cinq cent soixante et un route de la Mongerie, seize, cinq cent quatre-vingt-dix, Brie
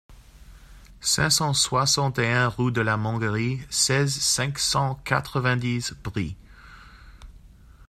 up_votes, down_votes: 0, 2